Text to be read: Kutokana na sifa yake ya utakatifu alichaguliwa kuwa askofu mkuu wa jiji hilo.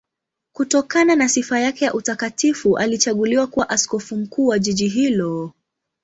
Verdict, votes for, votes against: accepted, 2, 0